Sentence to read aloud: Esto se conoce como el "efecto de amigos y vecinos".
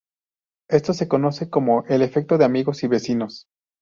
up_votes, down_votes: 2, 0